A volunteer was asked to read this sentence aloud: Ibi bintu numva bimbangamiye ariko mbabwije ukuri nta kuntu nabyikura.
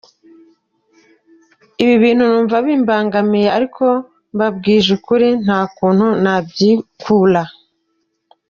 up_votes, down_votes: 2, 0